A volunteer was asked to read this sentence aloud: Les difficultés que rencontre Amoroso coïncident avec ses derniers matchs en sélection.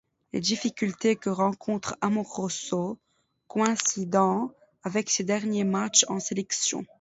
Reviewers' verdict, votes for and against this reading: rejected, 1, 2